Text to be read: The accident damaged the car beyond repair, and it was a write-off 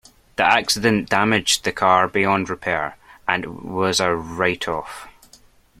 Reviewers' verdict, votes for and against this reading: rejected, 1, 2